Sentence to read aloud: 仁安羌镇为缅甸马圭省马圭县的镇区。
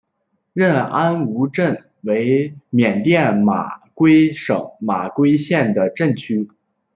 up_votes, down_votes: 0, 2